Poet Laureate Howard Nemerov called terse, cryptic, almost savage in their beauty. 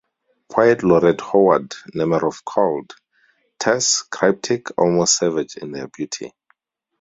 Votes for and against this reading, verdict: 2, 2, rejected